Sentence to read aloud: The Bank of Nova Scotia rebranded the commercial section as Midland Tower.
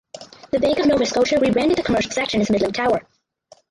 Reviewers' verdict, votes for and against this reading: rejected, 0, 4